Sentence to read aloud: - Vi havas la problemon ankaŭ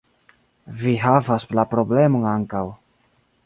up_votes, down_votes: 2, 1